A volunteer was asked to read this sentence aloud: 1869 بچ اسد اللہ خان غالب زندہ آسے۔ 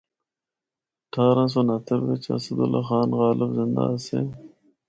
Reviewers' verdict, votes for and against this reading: rejected, 0, 2